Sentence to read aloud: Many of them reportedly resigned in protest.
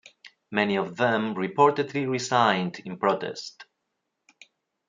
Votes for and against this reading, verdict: 2, 0, accepted